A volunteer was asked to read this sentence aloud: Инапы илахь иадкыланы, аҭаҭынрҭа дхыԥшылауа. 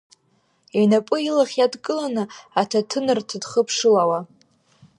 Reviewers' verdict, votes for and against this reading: rejected, 1, 2